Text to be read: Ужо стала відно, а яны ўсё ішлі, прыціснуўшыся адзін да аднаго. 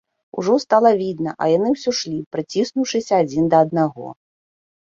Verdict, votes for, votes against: rejected, 0, 2